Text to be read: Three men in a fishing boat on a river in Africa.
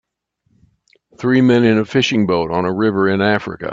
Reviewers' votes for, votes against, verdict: 2, 0, accepted